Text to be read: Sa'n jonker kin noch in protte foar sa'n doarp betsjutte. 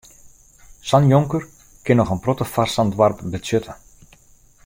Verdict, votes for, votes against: accepted, 2, 0